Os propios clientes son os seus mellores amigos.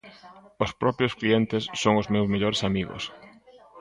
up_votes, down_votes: 0, 2